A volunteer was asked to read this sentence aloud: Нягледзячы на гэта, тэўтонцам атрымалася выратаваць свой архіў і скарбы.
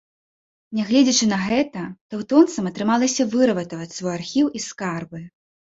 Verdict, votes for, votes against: rejected, 1, 2